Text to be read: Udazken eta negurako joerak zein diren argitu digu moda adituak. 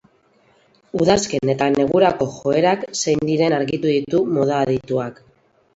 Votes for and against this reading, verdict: 0, 2, rejected